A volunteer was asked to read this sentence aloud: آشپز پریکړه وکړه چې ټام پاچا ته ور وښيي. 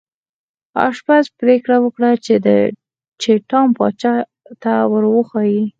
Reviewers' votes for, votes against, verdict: 4, 0, accepted